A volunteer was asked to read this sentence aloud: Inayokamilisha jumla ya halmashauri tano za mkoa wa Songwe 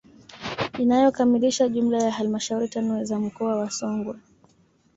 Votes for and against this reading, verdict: 1, 2, rejected